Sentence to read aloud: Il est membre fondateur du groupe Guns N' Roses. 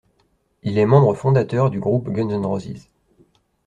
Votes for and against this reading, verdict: 1, 2, rejected